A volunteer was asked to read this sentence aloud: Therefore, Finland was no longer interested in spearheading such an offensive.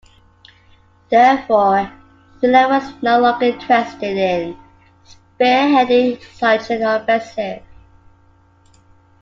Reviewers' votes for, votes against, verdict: 2, 1, accepted